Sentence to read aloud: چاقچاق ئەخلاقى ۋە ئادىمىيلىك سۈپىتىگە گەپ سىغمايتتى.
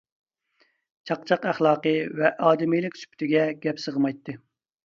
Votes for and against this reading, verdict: 2, 0, accepted